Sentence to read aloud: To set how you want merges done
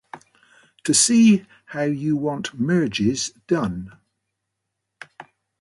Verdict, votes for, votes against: rejected, 0, 2